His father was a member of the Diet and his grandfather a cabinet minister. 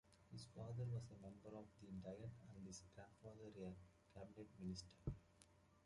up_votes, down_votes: 2, 1